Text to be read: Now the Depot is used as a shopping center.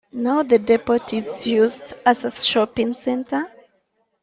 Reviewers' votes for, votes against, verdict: 1, 2, rejected